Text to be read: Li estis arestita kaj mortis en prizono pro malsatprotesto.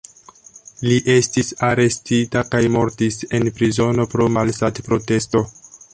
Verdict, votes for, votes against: accepted, 2, 1